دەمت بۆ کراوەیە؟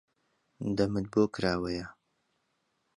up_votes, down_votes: 2, 0